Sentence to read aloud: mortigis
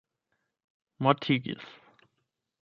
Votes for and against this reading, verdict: 8, 0, accepted